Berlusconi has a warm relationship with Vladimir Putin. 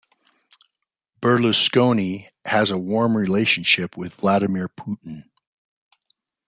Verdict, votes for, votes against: accepted, 2, 0